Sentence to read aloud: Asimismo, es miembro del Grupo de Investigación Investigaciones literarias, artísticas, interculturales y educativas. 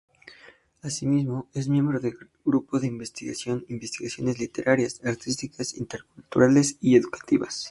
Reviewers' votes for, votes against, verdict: 0, 2, rejected